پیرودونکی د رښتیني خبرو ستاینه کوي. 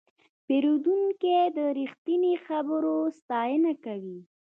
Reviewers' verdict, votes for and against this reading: rejected, 0, 2